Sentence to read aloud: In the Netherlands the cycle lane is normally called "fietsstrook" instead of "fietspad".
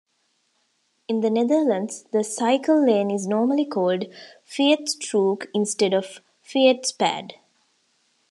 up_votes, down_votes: 2, 0